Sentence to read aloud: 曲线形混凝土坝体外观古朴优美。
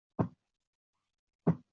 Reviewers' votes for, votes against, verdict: 3, 4, rejected